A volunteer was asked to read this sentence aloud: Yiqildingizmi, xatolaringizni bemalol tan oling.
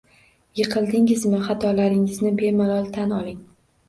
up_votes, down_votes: 2, 0